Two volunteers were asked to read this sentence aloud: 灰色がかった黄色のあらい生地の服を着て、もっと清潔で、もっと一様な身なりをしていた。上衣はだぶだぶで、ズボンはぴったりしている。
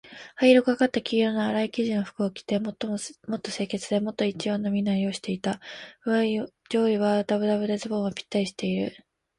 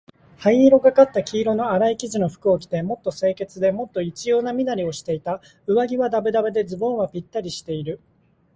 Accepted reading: second